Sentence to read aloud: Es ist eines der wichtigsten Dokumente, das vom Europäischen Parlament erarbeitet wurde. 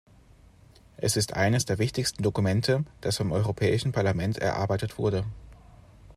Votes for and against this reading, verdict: 2, 0, accepted